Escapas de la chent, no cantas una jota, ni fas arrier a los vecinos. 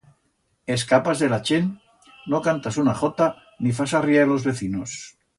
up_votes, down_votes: 2, 0